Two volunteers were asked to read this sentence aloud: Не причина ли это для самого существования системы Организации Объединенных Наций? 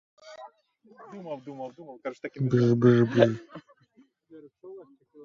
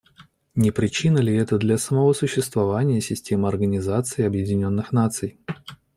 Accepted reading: second